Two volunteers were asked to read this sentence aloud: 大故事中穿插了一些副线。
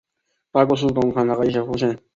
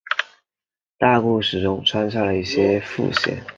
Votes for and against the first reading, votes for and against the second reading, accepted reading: 0, 2, 2, 0, second